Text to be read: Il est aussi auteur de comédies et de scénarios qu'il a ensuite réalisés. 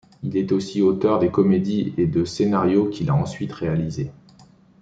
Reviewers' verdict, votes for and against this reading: rejected, 0, 2